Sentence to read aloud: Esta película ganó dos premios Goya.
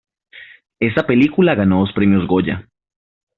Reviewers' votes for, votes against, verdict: 0, 2, rejected